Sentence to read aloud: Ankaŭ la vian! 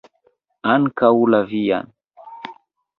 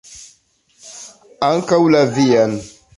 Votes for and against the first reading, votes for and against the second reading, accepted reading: 1, 2, 2, 0, second